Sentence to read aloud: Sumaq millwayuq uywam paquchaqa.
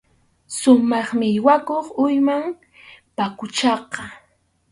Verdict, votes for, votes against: rejected, 2, 2